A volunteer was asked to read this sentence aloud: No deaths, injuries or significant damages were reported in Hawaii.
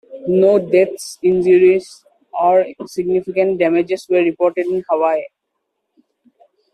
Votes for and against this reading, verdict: 2, 1, accepted